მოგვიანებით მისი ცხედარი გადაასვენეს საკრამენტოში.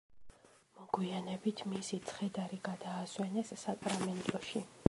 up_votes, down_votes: 2, 0